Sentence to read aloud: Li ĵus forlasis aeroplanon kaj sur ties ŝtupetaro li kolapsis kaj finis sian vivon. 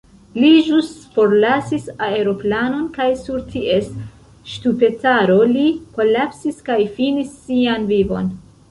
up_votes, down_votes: 1, 2